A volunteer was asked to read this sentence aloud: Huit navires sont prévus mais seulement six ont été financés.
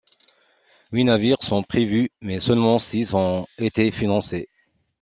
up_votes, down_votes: 2, 1